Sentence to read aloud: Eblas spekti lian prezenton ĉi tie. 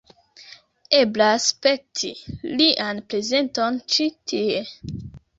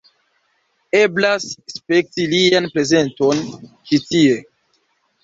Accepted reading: first